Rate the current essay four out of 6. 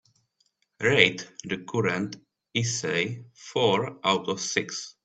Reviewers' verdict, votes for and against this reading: rejected, 0, 2